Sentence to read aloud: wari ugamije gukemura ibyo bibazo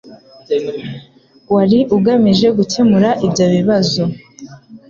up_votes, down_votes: 2, 0